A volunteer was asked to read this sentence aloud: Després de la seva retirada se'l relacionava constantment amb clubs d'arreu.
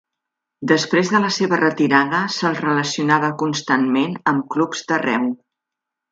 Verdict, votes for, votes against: accepted, 3, 0